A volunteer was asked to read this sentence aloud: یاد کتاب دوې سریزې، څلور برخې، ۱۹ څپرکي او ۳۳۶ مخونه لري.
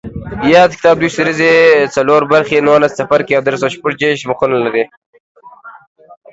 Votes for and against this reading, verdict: 0, 2, rejected